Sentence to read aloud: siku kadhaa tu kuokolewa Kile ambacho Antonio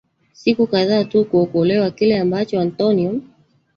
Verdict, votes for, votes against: rejected, 1, 2